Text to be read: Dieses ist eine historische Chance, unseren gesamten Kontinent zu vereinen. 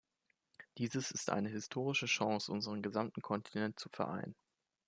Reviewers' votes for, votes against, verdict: 0, 2, rejected